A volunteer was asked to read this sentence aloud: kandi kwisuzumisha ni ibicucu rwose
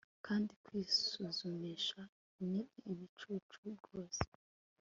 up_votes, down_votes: 3, 0